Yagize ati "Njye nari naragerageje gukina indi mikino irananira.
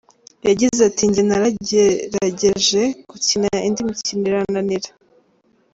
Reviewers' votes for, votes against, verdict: 2, 1, accepted